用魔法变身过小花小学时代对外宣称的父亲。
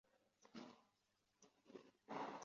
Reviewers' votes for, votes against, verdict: 4, 5, rejected